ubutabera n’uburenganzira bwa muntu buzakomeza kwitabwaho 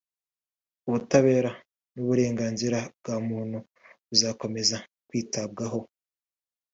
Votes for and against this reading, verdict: 3, 0, accepted